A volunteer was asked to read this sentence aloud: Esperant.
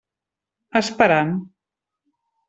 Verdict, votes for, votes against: rejected, 1, 2